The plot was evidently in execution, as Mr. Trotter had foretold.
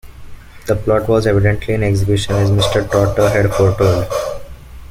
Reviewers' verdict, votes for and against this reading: rejected, 1, 2